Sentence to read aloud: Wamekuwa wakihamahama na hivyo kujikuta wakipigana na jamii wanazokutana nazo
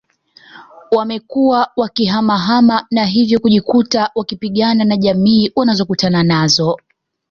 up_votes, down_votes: 2, 0